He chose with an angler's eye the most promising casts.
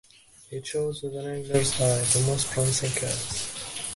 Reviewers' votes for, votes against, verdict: 3, 4, rejected